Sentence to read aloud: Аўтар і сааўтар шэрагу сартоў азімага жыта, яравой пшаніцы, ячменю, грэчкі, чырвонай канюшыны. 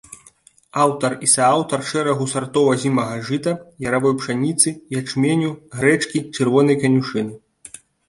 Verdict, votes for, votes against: accepted, 2, 0